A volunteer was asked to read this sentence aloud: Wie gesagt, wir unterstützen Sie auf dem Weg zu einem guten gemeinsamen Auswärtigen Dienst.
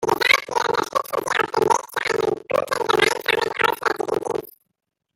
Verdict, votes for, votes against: rejected, 0, 2